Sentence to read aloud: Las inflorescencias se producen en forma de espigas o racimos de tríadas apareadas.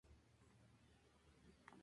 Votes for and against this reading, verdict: 0, 2, rejected